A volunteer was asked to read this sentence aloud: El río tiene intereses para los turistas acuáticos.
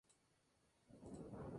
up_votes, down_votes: 0, 2